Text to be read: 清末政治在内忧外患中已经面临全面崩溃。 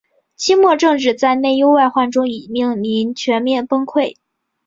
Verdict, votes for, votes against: rejected, 1, 2